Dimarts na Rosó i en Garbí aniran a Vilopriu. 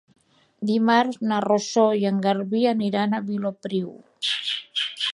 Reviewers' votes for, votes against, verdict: 1, 2, rejected